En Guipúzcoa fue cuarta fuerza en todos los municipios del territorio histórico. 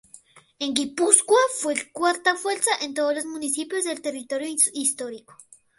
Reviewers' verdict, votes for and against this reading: accepted, 2, 0